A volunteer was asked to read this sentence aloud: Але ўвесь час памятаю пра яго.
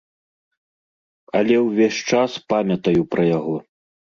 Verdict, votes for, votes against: accepted, 2, 0